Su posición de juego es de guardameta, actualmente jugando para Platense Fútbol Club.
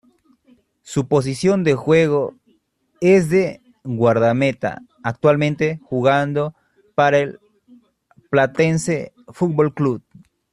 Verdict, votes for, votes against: accepted, 2, 1